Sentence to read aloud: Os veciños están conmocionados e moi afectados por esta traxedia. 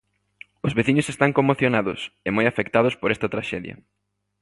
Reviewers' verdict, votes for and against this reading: accepted, 2, 0